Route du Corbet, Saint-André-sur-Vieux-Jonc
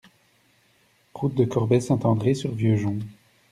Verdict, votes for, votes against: rejected, 0, 2